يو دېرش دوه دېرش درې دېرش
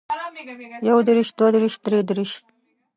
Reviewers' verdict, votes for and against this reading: rejected, 1, 2